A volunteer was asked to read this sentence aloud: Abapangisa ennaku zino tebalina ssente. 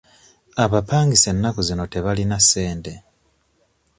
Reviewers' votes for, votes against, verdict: 2, 0, accepted